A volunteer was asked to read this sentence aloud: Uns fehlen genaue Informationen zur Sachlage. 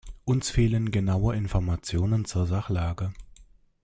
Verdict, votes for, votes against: accepted, 2, 0